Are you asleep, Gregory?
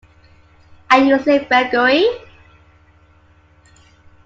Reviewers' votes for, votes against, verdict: 2, 1, accepted